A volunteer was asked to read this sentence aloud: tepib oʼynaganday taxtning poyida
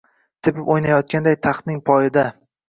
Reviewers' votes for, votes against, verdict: 0, 2, rejected